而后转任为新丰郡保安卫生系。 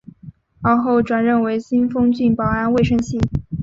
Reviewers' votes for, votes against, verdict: 2, 1, accepted